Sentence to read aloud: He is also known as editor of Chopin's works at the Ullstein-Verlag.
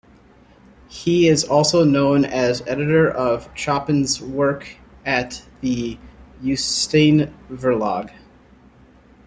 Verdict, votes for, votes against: rejected, 1, 2